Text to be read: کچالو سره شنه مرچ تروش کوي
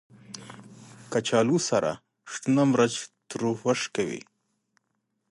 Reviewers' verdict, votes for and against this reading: rejected, 0, 2